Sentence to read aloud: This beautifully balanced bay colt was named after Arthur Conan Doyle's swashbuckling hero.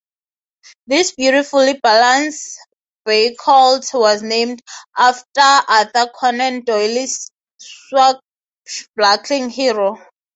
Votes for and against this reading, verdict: 6, 3, accepted